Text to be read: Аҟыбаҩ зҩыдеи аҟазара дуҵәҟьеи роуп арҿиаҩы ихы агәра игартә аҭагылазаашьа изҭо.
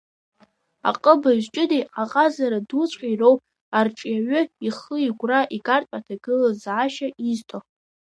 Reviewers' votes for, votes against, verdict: 1, 2, rejected